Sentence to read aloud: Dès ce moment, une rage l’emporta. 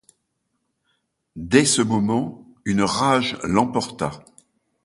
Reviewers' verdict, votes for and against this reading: accepted, 2, 0